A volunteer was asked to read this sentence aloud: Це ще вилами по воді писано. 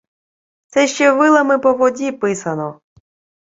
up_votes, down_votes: 2, 0